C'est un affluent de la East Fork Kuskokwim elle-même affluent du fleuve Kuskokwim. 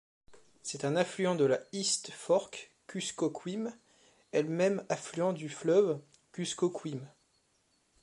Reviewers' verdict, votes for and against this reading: rejected, 1, 2